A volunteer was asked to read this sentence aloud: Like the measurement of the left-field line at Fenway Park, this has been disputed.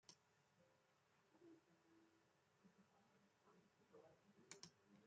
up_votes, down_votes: 0, 2